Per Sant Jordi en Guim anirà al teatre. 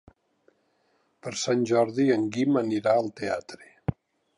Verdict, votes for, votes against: accepted, 3, 0